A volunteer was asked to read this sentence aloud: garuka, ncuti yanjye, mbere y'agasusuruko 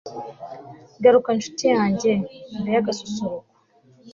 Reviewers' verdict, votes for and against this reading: accepted, 2, 0